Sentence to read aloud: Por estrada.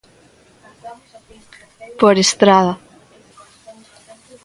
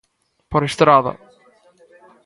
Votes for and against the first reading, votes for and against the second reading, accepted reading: 0, 2, 2, 0, second